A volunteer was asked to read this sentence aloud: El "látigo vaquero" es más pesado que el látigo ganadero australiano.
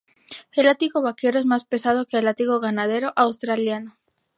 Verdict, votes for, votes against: rejected, 2, 2